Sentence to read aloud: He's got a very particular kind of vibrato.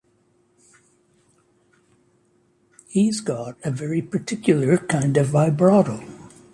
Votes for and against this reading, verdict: 2, 0, accepted